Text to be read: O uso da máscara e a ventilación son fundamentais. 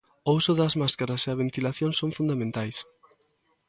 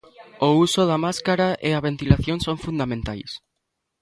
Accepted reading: second